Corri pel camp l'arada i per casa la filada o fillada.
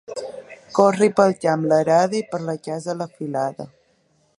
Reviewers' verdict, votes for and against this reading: rejected, 1, 3